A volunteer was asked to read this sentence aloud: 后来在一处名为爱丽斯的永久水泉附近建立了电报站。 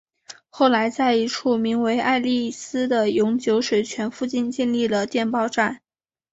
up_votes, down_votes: 2, 1